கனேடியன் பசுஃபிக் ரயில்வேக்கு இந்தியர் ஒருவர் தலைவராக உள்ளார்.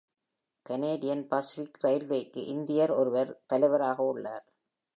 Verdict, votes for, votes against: accepted, 2, 0